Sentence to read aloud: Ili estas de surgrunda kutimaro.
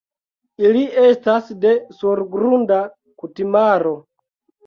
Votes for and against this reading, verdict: 2, 1, accepted